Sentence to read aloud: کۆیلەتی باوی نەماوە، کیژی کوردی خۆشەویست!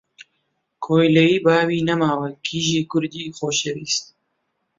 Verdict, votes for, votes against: rejected, 0, 2